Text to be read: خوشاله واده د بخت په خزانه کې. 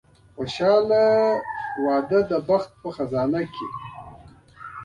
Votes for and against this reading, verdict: 1, 2, rejected